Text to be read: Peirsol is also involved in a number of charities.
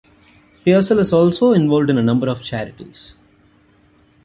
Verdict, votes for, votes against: accepted, 2, 0